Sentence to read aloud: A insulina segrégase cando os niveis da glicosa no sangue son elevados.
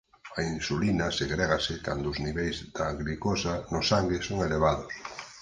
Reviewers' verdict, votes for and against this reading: rejected, 6, 8